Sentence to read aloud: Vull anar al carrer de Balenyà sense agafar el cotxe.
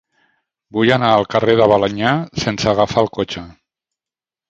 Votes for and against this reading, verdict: 1, 2, rejected